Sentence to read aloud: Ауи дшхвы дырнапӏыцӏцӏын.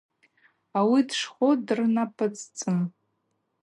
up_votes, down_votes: 2, 0